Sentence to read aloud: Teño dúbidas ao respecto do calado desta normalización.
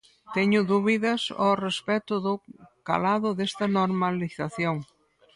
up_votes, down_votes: 2, 4